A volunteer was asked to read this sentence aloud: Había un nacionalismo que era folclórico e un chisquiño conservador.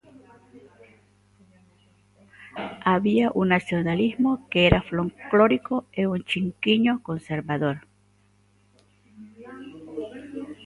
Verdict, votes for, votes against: rejected, 0, 2